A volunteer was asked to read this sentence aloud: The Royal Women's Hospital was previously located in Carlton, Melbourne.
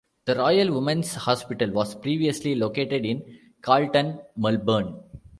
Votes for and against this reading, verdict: 2, 0, accepted